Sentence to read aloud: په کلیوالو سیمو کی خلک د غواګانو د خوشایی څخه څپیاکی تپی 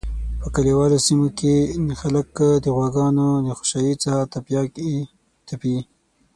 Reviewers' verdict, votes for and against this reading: rejected, 0, 6